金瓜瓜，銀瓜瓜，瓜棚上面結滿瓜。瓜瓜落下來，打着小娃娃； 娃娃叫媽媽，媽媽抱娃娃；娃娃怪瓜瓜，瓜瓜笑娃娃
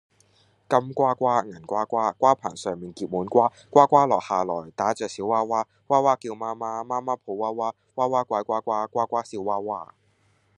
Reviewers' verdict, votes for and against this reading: accepted, 2, 0